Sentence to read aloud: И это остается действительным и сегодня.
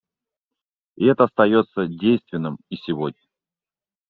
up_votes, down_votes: 0, 2